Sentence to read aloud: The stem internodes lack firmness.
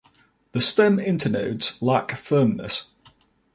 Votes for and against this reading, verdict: 2, 1, accepted